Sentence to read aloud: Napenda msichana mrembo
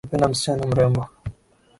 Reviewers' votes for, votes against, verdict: 4, 0, accepted